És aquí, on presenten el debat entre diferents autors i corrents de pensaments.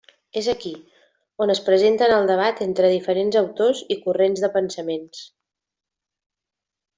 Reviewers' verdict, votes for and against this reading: rejected, 0, 2